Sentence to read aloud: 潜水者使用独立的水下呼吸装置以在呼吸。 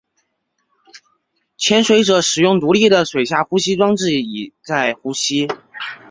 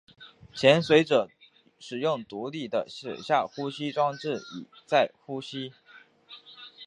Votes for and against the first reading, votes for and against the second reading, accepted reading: 2, 1, 2, 2, first